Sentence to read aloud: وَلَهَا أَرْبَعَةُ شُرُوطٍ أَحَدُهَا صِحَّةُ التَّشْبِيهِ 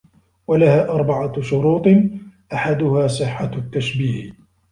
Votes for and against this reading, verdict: 1, 2, rejected